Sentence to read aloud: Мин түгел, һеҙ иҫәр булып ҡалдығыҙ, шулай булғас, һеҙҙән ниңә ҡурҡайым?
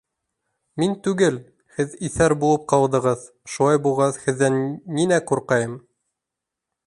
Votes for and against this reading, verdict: 2, 0, accepted